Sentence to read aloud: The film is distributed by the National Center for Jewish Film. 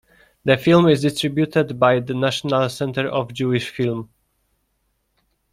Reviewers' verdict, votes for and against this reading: rejected, 0, 2